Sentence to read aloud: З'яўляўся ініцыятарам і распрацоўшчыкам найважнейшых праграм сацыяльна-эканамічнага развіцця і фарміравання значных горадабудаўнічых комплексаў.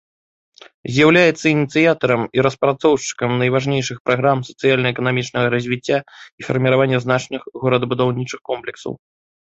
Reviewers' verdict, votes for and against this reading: rejected, 1, 2